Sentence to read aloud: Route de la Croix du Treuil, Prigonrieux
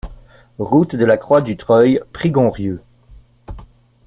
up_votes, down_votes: 2, 0